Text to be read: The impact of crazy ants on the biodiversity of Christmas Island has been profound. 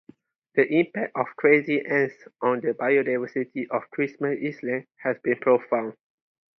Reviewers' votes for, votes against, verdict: 0, 2, rejected